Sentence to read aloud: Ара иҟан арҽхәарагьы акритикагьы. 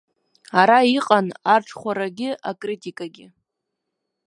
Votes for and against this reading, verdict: 2, 0, accepted